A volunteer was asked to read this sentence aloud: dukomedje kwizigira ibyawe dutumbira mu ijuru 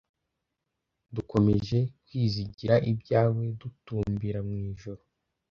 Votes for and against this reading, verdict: 2, 0, accepted